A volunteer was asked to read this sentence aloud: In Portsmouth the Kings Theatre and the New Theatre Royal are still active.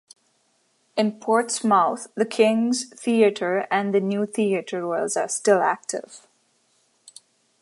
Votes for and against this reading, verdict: 0, 2, rejected